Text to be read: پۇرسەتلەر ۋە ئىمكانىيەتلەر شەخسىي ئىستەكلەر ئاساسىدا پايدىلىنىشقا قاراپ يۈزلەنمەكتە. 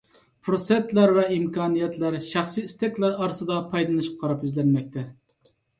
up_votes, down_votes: 1, 2